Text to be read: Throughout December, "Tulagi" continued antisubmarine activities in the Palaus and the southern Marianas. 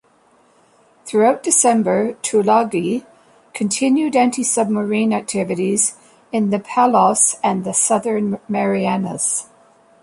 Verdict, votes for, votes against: accepted, 2, 0